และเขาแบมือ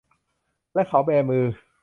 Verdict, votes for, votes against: accepted, 2, 0